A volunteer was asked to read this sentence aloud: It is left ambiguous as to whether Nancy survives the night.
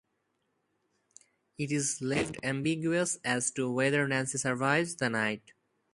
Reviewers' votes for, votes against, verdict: 2, 0, accepted